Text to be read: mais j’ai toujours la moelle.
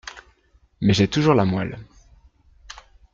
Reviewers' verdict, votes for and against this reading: accepted, 2, 0